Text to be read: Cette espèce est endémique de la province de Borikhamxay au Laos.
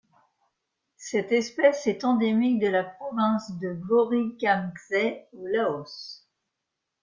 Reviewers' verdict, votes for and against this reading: accepted, 2, 0